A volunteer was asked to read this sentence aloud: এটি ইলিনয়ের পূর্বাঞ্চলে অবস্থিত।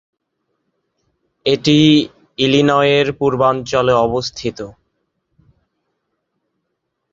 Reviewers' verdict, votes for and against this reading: accepted, 14, 3